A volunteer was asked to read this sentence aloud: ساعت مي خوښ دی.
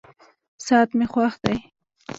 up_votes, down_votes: 0, 2